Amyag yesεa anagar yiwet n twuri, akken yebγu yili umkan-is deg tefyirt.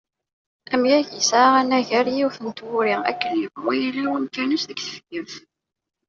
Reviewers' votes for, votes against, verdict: 0, 2, rejected